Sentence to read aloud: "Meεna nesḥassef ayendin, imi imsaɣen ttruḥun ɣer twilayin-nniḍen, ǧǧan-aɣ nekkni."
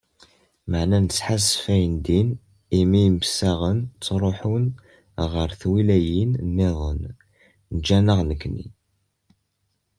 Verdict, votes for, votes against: accepted, 2, 0